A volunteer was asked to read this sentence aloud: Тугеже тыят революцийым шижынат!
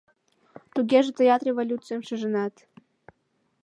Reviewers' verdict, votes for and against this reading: accepted, 2, 0